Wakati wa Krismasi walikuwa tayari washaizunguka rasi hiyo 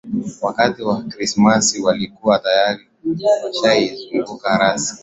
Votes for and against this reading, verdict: 0, 2, rejected